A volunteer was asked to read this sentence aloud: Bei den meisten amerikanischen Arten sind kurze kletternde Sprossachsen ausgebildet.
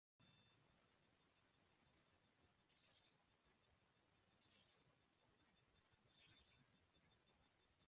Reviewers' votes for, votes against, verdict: 0, 2, rejected